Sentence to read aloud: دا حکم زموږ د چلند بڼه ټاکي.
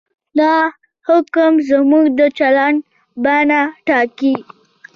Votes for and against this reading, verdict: 2, 0, accepted